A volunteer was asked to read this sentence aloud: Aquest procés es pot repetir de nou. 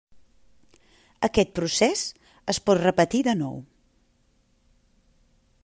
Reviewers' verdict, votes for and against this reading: accepted, 3, 0